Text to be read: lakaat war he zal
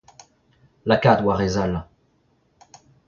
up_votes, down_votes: 2, 0